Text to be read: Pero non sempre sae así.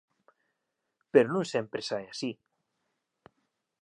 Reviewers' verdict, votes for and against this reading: accepted, 2, 0